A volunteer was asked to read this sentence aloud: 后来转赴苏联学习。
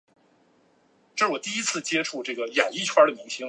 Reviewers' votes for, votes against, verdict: 0, 2, rejected